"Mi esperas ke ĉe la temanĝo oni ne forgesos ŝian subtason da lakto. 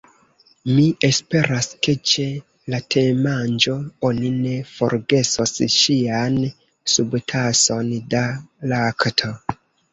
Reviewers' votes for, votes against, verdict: 2, 0, accepted